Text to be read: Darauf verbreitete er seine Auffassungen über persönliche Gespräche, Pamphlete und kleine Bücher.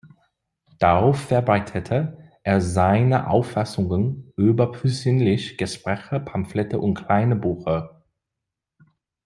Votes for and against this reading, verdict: 2, 0, accepted